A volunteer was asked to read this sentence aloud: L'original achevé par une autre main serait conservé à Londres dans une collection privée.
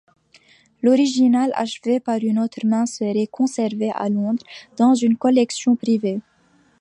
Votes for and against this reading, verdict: 2, 0, accepted